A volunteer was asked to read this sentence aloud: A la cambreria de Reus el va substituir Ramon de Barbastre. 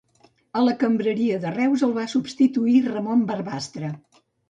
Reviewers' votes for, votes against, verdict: 1, 2, rejected